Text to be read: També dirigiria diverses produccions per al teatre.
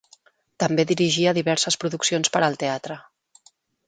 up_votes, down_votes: 2, 3